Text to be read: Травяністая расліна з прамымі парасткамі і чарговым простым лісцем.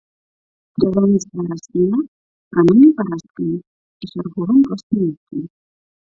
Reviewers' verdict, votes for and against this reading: rejected, 0, 2